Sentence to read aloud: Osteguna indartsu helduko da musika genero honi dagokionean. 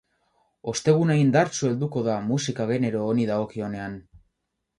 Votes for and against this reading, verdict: 4, 4, rejected